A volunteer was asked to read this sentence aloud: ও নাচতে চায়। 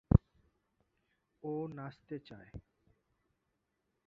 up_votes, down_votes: 1, 2